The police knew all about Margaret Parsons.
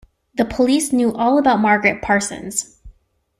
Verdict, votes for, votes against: accepted, 2, 0